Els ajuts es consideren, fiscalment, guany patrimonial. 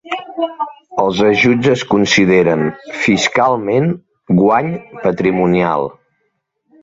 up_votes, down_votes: 1, 2